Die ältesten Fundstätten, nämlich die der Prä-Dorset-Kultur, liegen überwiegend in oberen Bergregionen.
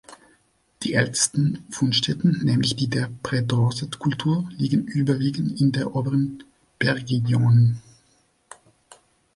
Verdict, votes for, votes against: rejected, 0, 2